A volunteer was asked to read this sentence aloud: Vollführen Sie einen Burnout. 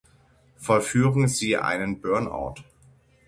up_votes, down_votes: 6, 0